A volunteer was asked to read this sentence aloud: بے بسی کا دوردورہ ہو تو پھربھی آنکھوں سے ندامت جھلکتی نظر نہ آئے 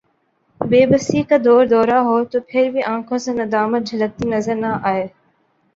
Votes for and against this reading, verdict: 2, 0, accepted